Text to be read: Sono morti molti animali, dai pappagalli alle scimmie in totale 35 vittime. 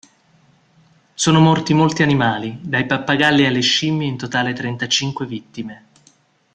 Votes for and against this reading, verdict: 0, 2, rejected